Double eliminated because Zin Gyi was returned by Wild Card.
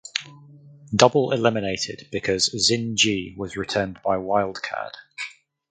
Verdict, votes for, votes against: accepted, 4, 0